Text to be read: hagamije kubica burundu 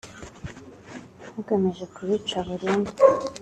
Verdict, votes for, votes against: accepted, 2, 0